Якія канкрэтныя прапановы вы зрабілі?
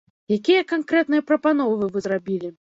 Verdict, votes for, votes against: rejected, 0, 2